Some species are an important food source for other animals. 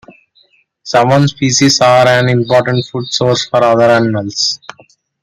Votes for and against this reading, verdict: 0, 2, rejected